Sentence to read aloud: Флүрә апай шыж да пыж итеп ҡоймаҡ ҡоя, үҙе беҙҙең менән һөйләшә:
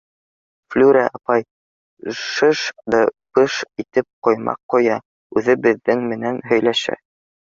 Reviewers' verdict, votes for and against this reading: rejected, 1, 2